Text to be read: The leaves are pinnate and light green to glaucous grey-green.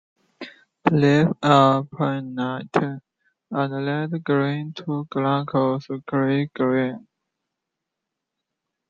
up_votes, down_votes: 2, 0